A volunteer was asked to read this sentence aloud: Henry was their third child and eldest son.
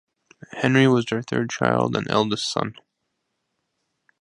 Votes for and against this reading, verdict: 2, 0, accepted